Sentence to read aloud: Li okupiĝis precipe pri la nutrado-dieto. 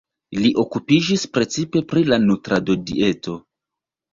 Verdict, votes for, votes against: accepted, 2, 0